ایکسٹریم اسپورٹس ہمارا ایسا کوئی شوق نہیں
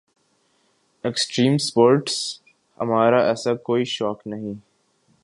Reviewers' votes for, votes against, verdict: 6, 1, accepted